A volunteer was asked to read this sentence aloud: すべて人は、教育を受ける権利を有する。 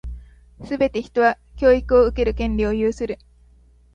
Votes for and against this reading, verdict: 2, 1, accepted